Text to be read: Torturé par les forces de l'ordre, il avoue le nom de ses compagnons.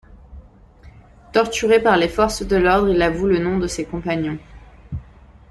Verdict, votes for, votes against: accepted, 2, 0